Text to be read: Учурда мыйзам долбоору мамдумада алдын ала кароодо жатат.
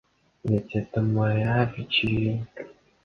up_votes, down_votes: 0, 2